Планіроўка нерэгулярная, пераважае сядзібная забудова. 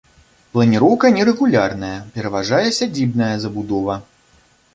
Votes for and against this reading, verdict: 2, 0, accepted